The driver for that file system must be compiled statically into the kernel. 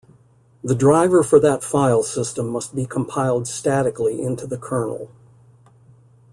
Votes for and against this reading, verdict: 2, 0, accepted